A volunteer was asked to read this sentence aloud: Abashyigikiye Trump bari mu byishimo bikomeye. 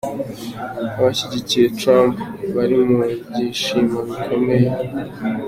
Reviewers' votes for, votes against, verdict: 2, 1, accepted